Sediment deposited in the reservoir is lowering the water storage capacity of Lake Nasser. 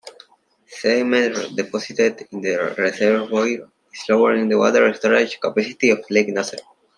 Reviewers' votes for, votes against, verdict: 0, 2, rejected